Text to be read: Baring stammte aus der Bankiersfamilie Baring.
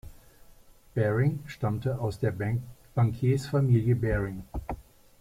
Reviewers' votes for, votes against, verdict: 0, 2, rejected